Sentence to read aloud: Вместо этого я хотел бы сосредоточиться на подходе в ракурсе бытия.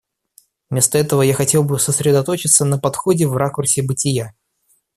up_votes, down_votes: 2, 0